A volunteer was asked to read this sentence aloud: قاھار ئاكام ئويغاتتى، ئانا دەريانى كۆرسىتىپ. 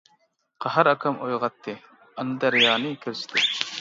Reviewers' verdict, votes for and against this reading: rejected, 1, 2